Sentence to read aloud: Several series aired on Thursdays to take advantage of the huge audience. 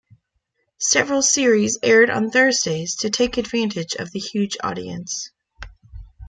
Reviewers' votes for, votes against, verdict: 2, 0, accepted